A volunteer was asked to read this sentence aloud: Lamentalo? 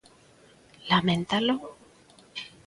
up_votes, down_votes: 2, 0